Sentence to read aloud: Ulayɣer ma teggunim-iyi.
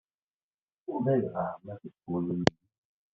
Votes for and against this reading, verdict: 1, 2, rejected